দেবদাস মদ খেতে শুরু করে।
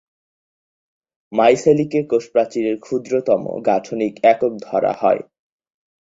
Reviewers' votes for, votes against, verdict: 2, 10, rejected